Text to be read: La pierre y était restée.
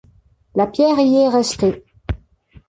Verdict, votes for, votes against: rejected, 0, 2